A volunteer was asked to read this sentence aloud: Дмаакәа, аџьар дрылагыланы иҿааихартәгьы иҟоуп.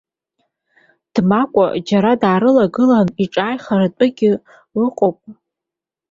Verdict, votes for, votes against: rejected, 1, 2